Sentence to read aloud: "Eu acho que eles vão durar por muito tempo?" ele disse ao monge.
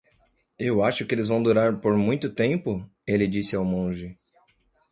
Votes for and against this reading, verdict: 2, 0, accepted